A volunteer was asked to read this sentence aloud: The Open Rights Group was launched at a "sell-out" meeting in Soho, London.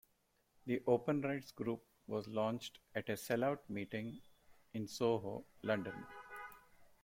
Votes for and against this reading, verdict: 2, 0, accepted